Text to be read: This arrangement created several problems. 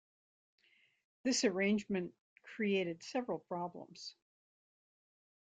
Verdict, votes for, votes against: accepted, 2, 0